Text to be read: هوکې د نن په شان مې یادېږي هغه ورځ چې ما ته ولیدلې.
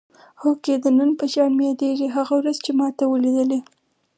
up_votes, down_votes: 4, 0